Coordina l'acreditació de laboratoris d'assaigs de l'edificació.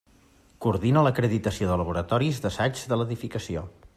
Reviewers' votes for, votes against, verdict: 2, 0, accepted